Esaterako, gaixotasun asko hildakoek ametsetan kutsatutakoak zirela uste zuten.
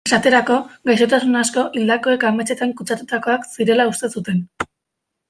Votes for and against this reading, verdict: 1, 2, rejected